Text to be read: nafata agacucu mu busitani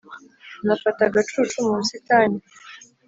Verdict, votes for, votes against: accepted, 2, 0